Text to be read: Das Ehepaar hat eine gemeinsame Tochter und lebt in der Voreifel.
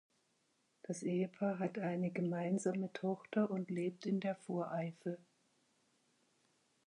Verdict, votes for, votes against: accepted, 6, 0